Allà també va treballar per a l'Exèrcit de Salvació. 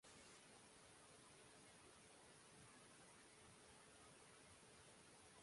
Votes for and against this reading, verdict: 0, 2, rejected